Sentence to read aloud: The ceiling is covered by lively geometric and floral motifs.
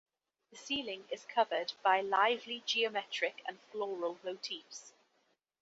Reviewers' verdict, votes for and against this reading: accepted, 2, 0